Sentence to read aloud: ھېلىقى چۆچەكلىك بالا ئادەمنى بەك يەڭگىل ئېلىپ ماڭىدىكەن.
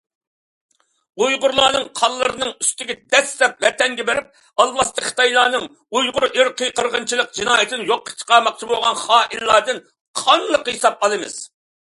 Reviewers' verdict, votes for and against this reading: rejected, 0, 2